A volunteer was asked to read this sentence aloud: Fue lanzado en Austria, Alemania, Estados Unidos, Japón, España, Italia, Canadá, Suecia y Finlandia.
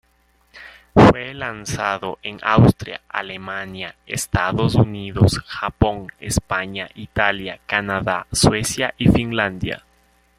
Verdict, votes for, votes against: rejected, 1, 2